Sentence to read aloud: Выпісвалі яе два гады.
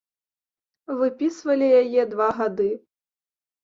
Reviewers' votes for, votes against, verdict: 2, 1, accepted